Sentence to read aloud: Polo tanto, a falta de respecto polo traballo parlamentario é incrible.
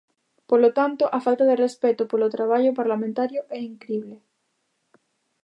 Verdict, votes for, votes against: accepted, 2, 0